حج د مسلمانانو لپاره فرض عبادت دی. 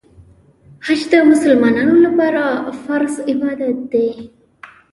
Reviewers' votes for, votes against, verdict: 0, 2, rejected